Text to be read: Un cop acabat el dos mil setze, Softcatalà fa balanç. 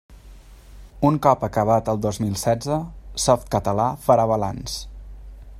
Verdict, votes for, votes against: rejected, 1, 2